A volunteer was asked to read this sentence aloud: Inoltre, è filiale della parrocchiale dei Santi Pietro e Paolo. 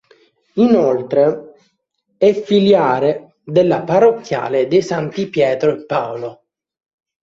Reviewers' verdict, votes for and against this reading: rejected, 0, 3